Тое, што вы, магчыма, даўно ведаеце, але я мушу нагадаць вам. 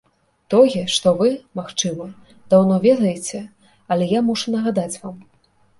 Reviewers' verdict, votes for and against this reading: accepted, 3, 0